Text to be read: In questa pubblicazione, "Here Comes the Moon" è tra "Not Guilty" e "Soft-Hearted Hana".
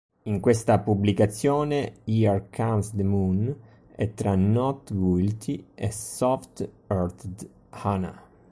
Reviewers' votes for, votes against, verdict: 2, 0, accepted